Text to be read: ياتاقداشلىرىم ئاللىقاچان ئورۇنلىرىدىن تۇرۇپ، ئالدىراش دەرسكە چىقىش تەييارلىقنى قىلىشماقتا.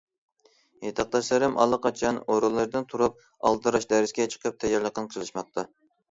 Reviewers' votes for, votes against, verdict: 0, 2, rejected